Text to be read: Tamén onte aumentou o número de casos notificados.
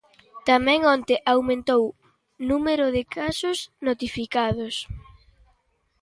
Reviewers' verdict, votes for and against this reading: rejected, 1, 2